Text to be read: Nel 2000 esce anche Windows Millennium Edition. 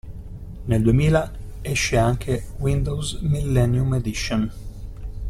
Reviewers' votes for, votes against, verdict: 0, 2, rejected